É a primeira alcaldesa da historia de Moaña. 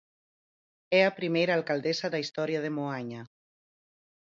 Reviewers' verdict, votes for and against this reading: accepted, 4, 0